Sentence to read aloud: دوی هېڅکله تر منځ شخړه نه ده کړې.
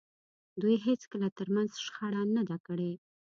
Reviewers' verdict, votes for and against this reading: accepted, 2, 0